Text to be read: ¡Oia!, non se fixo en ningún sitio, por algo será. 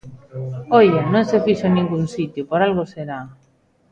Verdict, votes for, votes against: accepted, 2, 0